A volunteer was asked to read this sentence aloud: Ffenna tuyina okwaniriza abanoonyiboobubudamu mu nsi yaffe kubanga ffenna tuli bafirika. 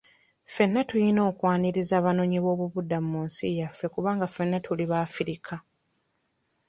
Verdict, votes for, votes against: rejected, 1, 2